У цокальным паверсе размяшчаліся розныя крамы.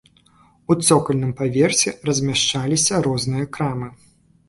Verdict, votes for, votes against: accepted, 2, 0